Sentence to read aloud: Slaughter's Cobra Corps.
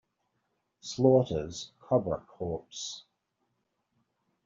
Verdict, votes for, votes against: rejected, 1, 2